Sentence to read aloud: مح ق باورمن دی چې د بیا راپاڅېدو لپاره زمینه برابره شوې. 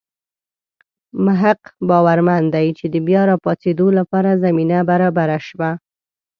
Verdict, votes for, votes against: rejected, 0, 2